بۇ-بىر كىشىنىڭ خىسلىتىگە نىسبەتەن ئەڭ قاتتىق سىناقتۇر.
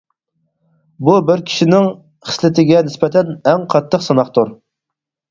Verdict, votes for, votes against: accepted, 4, 0